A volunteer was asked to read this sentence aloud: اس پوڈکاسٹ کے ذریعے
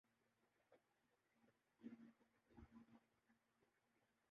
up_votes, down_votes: 0, 3